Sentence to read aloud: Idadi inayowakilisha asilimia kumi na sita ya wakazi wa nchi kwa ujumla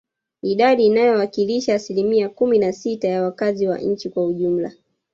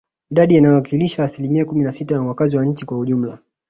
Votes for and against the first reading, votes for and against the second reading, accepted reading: 1, 2, 2, 0, second